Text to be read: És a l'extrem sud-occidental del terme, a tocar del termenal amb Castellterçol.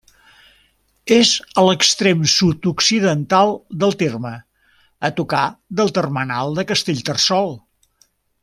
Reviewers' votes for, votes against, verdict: 1, 2, rejected